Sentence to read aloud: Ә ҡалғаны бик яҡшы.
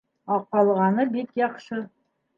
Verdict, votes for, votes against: accepted, 2, 0